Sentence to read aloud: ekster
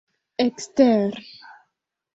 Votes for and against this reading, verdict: 1, 2, rejected